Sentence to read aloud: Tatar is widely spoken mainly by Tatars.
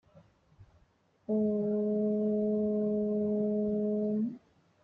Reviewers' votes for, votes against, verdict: 0, 2, rejected